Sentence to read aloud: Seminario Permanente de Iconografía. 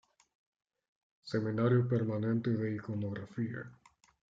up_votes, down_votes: 2, 1